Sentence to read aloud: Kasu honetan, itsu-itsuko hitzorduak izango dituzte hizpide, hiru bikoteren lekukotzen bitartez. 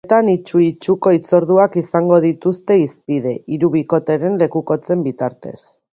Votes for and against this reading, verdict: 0, 2, rejected